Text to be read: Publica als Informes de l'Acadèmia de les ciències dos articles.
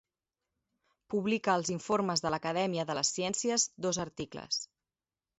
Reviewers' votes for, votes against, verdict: 1, 2, rejected